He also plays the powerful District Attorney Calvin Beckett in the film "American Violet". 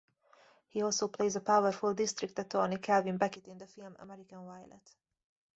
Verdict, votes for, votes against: rejected, 0, 2